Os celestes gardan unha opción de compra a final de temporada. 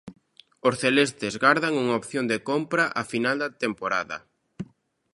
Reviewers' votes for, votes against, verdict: 1, 2, rejected